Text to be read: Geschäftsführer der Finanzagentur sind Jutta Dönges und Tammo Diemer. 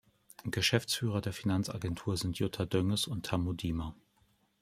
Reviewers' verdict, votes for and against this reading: accepted, 2, 0